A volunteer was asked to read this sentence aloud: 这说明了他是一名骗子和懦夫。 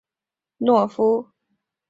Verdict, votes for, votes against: rejected, 0, 2